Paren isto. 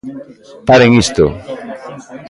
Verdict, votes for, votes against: rejected, 0, 2